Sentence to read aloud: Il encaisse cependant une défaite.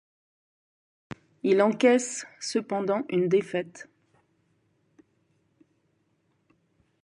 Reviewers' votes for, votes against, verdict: 2, 0, accepted